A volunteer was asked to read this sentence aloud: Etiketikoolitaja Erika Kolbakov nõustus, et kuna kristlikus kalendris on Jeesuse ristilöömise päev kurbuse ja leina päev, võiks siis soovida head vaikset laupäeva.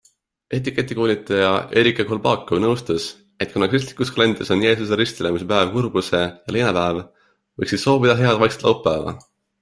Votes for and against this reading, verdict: 2, 0, accepted